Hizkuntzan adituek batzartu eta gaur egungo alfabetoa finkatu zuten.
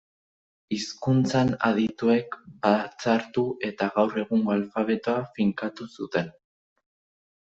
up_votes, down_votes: 2, 0